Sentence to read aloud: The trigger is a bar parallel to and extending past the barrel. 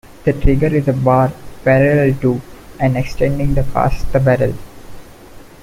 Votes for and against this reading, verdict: 0, 2, rejected